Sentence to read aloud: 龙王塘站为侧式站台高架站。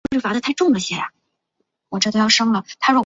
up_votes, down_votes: 1, 2